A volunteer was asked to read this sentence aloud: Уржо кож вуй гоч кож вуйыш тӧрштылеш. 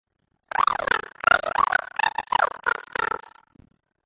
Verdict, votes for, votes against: rejected, 0, 2